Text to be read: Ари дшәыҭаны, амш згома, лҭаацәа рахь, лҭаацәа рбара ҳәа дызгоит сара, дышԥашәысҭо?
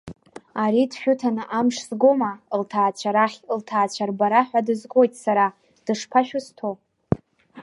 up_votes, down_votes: 2, 0